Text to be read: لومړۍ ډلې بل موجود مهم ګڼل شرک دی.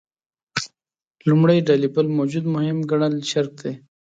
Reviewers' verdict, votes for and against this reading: accepted, 2, 0